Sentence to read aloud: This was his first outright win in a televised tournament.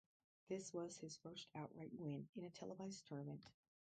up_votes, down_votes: 2, 2